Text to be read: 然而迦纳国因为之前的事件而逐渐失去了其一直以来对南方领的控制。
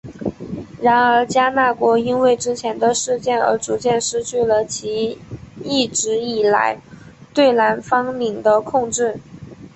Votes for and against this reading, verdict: 2, 0, accepted